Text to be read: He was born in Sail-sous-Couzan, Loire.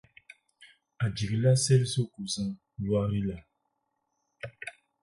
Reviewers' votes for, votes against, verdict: 4, 8, rejected